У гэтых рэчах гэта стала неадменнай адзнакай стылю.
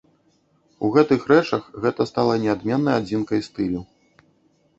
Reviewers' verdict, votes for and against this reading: rejected, 0, 2